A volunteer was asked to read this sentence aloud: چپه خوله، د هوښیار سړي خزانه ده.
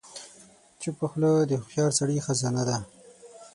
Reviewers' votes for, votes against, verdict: 6, 0, accepted